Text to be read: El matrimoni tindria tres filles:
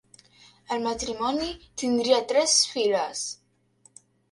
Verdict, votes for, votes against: rejected, 0, 2